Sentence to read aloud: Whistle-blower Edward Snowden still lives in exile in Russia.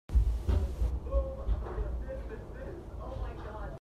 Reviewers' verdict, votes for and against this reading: rejected, 0, 2